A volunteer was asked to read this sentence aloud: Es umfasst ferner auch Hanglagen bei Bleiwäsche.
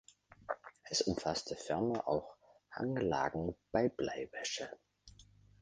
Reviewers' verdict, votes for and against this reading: accepted, 2, 0